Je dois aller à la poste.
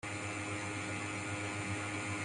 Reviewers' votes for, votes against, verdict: 0, 2, rejected